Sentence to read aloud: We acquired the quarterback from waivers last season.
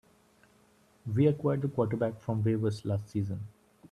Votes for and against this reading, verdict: 2, 0, accepted